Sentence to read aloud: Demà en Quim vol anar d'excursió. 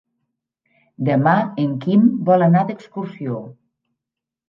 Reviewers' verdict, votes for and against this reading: rejected, 0, 2